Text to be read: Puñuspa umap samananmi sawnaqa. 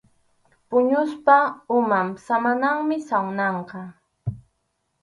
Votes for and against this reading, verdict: 2, 2, rejected